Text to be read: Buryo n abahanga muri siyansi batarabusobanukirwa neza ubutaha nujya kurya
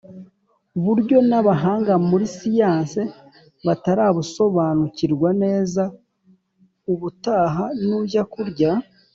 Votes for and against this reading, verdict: 2, 0, accepted